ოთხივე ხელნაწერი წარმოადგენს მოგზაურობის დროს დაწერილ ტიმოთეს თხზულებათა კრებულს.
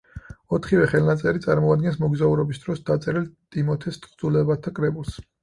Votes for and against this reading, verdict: 8, 0, accepted